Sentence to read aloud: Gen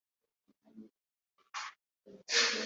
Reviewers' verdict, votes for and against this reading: rejected, 0, 3